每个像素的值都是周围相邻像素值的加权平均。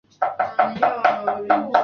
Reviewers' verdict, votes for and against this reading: rejected, 1, 2